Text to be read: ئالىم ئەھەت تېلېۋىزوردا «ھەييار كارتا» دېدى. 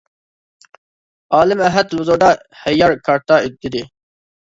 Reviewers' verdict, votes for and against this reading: rejected, 0, 2